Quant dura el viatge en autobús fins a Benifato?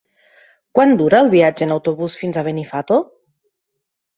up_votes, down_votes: 3, 0